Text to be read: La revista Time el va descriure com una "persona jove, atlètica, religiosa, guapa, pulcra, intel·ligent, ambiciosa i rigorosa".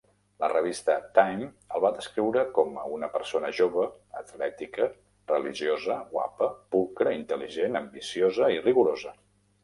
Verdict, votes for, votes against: rejected, 1, 2